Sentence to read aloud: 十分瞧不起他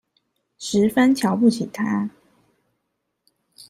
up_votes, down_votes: 2, 0